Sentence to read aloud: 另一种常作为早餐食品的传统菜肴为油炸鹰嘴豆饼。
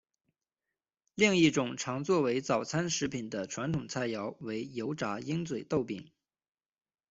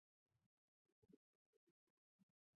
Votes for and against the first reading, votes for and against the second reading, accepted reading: 2, 0, 0, 3, first